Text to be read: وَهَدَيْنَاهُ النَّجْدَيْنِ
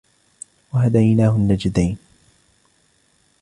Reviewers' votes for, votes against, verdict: 2, 0, accepted